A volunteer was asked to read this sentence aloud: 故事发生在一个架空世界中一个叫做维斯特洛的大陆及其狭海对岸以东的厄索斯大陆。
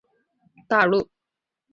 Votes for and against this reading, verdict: 0, 3, rejected